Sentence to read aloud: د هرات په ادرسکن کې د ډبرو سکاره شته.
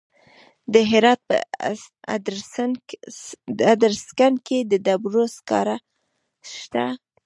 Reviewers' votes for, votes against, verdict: 0, 2, rejected